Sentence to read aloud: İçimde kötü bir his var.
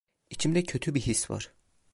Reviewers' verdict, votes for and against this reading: accepted, 2, 0